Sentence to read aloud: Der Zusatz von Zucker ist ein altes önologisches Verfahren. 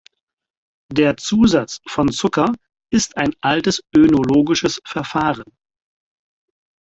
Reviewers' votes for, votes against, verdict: 2, 4, rejected